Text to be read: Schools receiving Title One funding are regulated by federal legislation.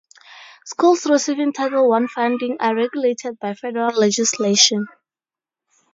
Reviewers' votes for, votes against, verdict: 4, 2, accepted